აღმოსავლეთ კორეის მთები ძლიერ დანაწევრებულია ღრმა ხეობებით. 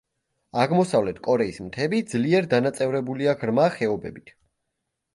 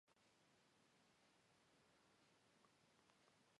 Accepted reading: first